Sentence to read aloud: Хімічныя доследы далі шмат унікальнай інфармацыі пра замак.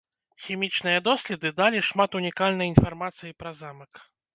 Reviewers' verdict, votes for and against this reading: accepted, 2, 0